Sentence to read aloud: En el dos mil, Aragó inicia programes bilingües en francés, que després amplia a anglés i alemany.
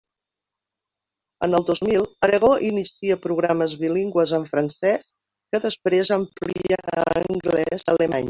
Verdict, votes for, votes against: rejected, 1, 2